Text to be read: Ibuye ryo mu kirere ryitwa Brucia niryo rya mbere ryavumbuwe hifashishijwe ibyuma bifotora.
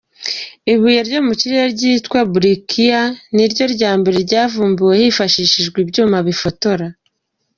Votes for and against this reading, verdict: 2, 0, accepted